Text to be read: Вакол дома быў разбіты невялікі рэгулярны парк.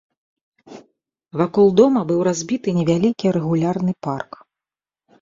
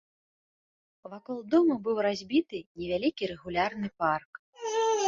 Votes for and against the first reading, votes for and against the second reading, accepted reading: 2, 0, 0, 2, first